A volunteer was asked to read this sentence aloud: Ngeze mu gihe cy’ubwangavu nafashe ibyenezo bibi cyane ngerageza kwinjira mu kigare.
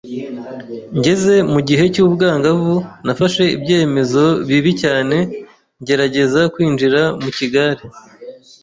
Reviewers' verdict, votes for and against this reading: rejected, 1, 2